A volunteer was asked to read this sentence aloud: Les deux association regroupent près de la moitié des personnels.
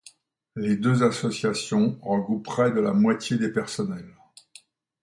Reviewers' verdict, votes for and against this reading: accepted, 2, 0